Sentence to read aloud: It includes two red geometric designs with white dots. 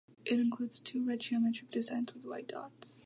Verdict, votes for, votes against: accepted, 2, 0